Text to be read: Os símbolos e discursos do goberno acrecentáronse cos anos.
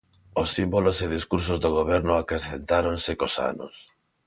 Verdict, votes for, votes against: accepted, 2, 0